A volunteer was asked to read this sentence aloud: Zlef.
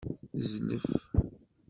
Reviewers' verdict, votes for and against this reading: accepted, 2, 1